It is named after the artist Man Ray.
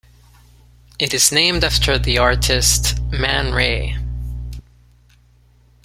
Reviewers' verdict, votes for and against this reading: accepted, 2, 0